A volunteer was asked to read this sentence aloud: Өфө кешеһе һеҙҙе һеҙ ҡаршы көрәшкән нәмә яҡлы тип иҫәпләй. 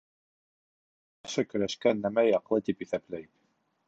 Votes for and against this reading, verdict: 0, 2, rejected